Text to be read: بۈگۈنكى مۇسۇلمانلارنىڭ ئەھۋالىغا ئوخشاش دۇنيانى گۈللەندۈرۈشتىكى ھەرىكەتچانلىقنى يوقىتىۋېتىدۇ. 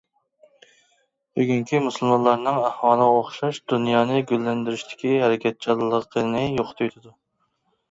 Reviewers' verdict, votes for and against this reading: rejected, 1, 2